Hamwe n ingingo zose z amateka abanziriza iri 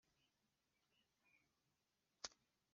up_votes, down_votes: 1, 2